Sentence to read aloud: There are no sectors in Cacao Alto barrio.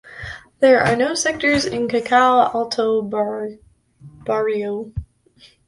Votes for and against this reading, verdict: 0, 2, rejected